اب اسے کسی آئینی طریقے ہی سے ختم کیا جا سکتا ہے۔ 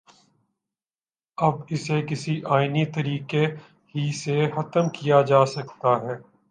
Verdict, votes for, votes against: accepted, 2, 0